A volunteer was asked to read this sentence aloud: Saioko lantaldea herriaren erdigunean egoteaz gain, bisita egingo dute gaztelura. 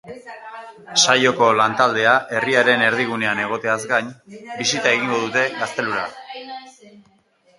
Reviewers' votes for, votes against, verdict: 1, 5, rejected